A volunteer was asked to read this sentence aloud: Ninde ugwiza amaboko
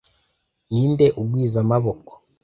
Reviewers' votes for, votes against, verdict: 2, 0, accepted